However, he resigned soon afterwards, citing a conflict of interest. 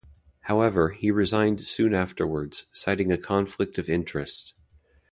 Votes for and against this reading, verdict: 2, 0, accepted